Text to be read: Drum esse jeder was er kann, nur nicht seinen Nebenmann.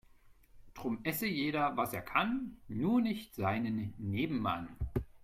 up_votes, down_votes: 2, 0